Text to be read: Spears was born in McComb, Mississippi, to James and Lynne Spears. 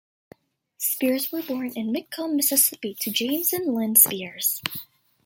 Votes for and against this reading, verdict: 2, 0, accepted